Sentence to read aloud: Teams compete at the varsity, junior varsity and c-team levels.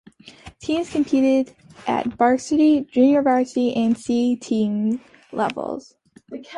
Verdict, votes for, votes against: rejected, 0, 2